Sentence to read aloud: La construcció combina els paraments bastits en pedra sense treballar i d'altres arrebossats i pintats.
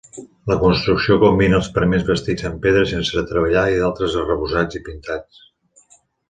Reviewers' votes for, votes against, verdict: 3, 2, accepted